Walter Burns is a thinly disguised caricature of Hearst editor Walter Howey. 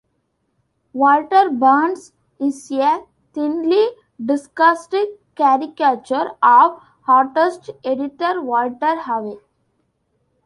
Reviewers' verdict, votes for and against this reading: rejected, 1, 2